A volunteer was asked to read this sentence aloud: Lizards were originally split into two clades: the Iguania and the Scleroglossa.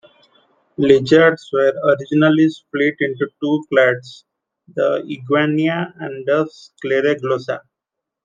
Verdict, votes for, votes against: rejected, 1, 2